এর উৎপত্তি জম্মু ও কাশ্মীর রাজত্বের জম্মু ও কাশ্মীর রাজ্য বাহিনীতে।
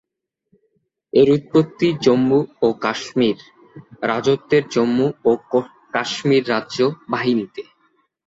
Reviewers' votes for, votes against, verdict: 0, 2, rejected